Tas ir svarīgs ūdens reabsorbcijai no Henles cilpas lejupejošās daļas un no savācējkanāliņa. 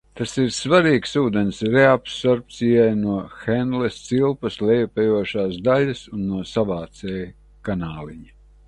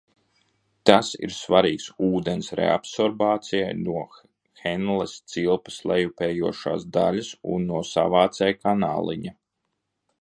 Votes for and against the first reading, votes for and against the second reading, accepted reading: 2, 0, 0, 2, first